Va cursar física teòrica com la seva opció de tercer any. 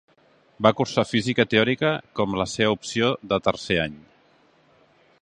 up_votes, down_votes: 3, 0